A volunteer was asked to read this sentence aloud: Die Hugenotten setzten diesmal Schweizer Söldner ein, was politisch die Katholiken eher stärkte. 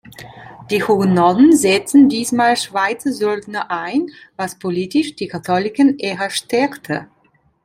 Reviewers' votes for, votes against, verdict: 1, 2, rejected